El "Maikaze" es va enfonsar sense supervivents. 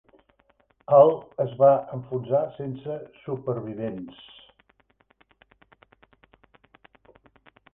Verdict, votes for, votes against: rejected, 1, 2